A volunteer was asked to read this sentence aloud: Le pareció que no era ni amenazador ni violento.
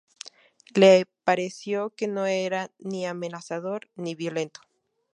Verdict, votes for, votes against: rejected, 2, 2